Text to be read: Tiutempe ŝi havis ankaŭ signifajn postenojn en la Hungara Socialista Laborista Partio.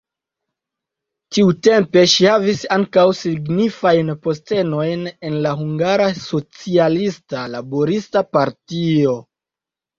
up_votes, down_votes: 2, 0